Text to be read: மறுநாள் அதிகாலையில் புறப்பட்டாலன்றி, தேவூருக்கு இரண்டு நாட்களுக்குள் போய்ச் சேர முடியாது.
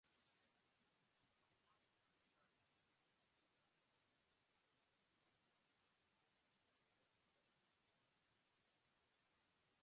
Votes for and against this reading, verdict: 0, 2, rejected